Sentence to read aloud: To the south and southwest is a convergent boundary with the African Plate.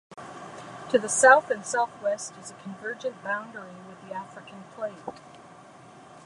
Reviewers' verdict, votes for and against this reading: accepted, 2, 0